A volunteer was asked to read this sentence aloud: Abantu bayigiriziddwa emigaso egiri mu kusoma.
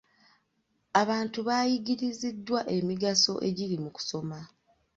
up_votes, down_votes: 2, 0